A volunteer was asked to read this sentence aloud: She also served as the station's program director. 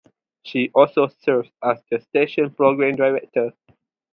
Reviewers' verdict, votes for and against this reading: accepted, 4, 0